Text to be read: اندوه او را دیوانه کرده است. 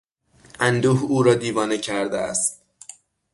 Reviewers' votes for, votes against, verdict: 6, 0, accepted